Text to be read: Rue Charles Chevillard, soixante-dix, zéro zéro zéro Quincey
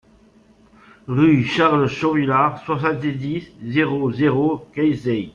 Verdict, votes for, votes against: rejected, 0, 2